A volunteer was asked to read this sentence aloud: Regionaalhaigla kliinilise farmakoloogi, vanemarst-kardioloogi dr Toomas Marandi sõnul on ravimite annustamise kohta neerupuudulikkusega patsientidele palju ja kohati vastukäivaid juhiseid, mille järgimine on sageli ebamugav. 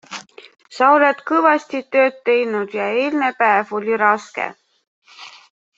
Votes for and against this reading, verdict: 0, 2, rejected